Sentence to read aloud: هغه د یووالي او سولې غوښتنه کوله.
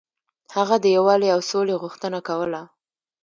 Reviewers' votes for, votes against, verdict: 2, 1, accepted